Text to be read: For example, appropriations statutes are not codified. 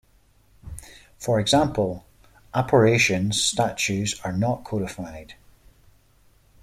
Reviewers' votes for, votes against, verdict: 0, 2, rejected